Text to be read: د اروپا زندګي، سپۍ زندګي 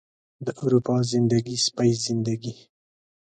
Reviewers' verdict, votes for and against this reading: accepted, 2, 0